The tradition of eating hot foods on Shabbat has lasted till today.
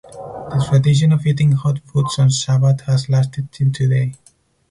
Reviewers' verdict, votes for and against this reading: rejected, 4, 6